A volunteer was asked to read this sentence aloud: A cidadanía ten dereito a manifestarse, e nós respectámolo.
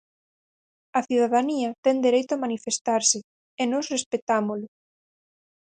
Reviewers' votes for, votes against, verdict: 4, 0, accepted